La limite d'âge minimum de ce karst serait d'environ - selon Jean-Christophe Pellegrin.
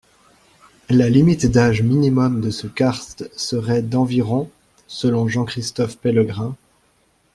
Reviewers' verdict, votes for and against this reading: accepted, 2, 0